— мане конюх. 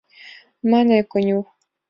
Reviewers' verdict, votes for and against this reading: accepted, 2, 0